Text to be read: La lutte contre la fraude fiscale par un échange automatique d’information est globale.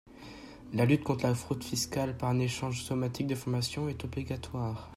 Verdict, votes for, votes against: rejected, 0, 2